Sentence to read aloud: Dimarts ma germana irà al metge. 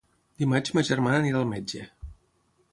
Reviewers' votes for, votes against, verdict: 3, 6, rejected